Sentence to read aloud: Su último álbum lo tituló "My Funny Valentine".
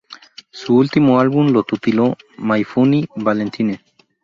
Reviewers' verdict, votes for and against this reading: rejected, 0, 2